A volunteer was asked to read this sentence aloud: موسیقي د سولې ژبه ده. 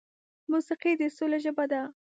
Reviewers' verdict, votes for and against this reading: accepted, 2, 0